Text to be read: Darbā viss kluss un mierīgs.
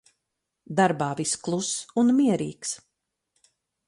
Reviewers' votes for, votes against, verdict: 4, 0, accepted